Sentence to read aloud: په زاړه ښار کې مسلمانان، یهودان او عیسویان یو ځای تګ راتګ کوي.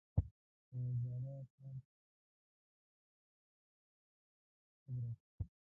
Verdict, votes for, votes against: rejected, 0, 2